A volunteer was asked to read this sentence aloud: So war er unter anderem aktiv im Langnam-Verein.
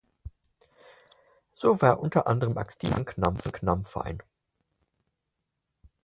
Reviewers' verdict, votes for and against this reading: rejected, 0, 4